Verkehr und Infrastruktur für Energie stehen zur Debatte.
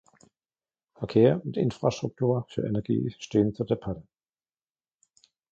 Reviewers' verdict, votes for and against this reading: rejected, 0, 2